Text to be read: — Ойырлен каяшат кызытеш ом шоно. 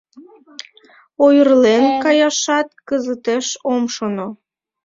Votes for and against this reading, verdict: 2, 0, accepted